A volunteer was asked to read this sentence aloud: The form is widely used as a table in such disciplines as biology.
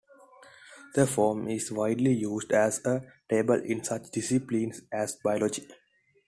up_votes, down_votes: 2, 0